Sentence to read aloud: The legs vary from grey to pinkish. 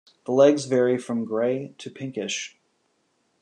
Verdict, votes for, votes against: accepted, 2, 0